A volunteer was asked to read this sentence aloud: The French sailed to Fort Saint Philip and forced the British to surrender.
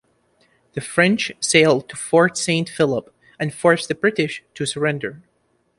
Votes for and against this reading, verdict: 2, 0, accepted